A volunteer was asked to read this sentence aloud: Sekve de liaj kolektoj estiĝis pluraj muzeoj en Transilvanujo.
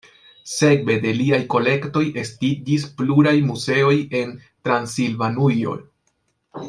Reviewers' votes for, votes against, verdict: 1, 2, rejected